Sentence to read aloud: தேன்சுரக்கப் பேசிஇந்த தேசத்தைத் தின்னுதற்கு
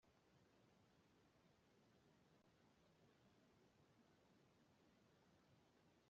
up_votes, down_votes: 0, 2